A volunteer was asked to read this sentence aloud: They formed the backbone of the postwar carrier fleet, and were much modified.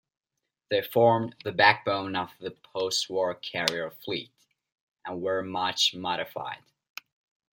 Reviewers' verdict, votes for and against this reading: accepted, 2, 0